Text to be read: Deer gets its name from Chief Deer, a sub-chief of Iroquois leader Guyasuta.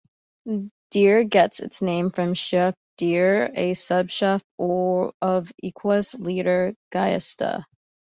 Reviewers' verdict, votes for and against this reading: rejected, 1, 2